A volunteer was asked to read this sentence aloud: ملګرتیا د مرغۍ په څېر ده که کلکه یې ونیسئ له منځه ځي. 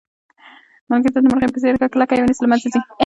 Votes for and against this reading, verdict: 2, 0, accepted